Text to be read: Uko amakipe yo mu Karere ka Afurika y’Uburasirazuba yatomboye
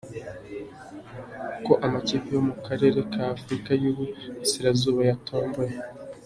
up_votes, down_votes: 2, 0